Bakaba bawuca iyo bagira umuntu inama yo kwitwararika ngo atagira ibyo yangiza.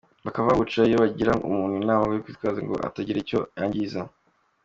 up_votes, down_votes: 2, 0